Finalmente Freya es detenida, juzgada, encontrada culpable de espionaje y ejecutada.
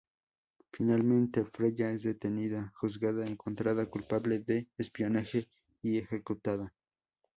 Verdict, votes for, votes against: accepted, 2, 0